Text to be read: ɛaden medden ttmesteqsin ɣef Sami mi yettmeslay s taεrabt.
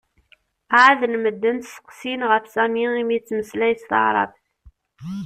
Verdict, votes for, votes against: rejected, 0, 2